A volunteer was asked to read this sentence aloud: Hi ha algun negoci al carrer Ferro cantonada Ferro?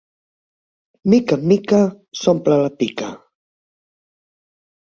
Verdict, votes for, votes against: rejected, 0, 4